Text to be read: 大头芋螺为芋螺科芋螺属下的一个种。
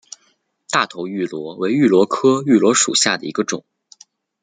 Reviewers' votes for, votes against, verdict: 2, 0, accepted